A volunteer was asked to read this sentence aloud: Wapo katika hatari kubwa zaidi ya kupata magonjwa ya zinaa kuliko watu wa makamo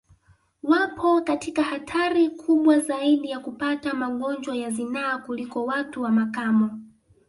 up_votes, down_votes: 2, 0